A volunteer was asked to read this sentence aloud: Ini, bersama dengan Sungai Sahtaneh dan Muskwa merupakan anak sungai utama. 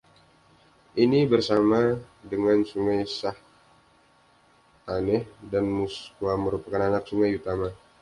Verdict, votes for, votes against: accepted, 2, 0